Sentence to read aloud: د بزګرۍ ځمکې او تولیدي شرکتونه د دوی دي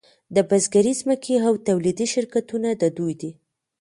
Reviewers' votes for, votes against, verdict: 1, 2, rejected